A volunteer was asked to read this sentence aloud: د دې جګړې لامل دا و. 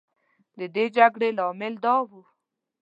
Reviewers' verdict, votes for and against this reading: accepted, 2, 0